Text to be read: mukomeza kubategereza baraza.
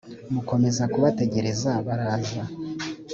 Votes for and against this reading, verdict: 2, 0, accepted